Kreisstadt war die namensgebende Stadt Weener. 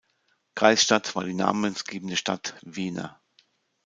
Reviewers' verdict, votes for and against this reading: rejected, 1, 2